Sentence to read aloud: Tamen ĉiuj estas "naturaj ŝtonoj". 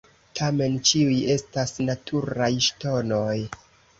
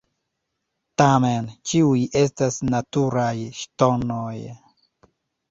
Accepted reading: first